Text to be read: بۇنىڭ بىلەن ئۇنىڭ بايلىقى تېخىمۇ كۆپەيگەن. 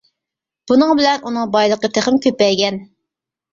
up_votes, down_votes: 2, 0